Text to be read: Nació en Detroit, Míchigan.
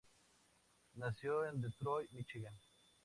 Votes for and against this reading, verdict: 0, 4, rejected